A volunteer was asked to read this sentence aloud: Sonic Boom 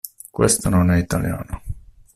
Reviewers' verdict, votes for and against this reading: rejected, 0, 2